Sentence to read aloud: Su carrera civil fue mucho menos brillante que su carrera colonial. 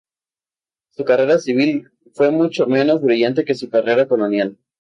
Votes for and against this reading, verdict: 2, 0, accepted